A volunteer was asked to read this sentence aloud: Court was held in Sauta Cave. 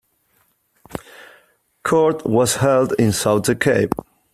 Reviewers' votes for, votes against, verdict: 2, 0, accepted